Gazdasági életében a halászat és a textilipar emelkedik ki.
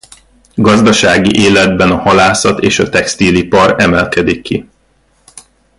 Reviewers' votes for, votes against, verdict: 0, 2, rejected